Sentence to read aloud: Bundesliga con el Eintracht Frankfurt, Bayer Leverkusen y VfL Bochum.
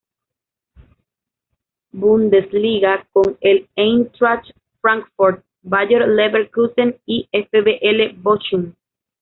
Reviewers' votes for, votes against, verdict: 1, 2, rejected